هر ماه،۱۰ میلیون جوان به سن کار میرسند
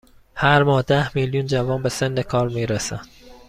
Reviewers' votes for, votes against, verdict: 0, 2, rejected